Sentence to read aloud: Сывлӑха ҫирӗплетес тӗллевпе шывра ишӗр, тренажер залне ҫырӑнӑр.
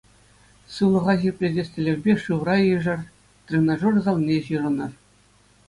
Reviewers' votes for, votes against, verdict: 2, 0, accepted